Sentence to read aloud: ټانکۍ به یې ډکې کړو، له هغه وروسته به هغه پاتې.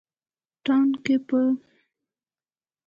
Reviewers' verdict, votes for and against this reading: rejected, 1, 2